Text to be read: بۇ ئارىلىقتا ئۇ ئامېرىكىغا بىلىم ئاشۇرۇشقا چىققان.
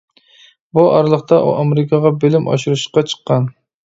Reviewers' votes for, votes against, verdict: 2, 0, accepted